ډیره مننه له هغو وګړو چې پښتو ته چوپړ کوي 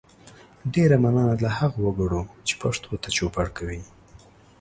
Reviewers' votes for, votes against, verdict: 2, 0, accepted